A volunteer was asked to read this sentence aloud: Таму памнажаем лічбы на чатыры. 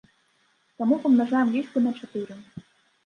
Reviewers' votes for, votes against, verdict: 2, 0, accepted